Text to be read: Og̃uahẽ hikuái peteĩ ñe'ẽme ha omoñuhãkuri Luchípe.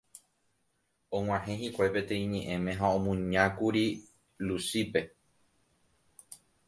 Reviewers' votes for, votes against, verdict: 0, 2, rejected